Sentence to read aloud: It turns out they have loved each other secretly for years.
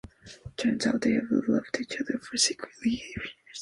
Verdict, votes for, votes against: rejected, 0, 2